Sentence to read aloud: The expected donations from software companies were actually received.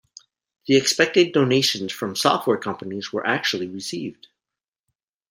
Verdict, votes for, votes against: accepted, 2, 0